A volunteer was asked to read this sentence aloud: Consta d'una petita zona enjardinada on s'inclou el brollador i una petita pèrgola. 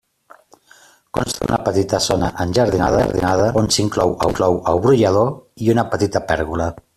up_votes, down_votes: 0, 2